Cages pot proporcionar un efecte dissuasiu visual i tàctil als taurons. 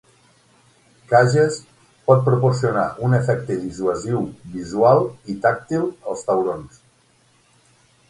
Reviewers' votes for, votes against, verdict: 6, 3, accepted